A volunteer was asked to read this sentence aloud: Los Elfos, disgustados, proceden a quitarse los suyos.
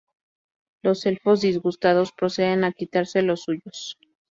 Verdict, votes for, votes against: accepted, 2, 0